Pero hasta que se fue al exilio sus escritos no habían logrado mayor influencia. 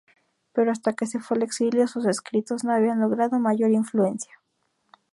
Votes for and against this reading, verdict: 2, 0, accepted